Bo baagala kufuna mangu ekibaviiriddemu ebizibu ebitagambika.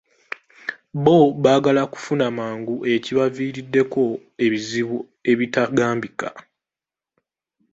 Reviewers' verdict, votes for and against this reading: rejected, 1, 2